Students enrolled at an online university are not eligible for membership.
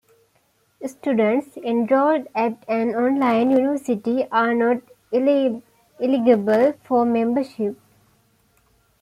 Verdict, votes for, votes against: accepted, 2, 0